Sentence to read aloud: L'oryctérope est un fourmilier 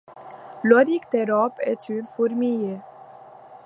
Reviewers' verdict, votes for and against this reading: rejected, 0, 2